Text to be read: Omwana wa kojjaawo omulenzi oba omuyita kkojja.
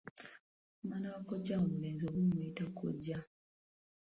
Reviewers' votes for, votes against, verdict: 2, 1, accepted